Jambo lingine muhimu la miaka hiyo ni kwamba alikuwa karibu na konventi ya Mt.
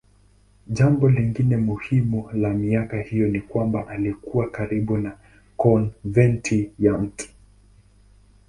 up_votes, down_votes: 2, 0